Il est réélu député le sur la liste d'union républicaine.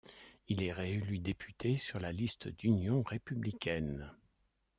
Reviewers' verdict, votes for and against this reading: rejected, 1, 2